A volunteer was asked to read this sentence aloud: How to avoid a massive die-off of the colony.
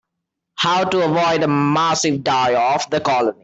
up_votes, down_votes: 0, 3